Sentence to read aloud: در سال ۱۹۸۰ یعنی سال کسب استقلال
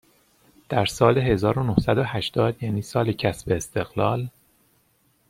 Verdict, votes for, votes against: rejected, 0, 2